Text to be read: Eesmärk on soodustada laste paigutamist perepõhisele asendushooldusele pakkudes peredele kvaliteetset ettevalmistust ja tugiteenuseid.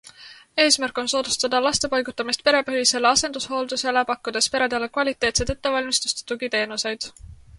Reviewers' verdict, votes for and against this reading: accepted, 2, 0